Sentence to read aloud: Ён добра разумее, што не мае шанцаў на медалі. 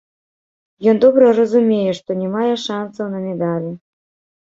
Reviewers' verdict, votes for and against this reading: rejected, 1, 2